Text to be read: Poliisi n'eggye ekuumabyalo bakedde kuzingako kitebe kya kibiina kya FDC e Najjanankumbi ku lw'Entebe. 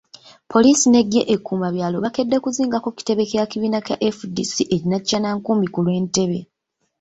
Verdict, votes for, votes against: rejected, 1, 2